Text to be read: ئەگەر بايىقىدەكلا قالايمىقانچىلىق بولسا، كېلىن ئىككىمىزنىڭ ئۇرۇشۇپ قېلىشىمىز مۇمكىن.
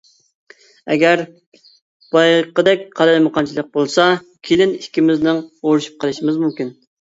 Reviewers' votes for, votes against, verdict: 0, 2, rejected